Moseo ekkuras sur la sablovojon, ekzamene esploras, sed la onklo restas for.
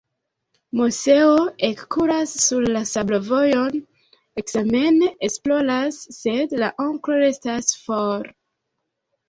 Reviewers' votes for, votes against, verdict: 0, 2, rejected